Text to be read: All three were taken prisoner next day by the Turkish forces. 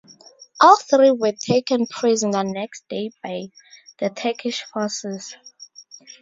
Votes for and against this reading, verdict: 0, 2, rejected